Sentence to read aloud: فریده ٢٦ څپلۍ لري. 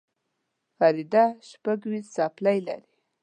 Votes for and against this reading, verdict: 0, 2, rejected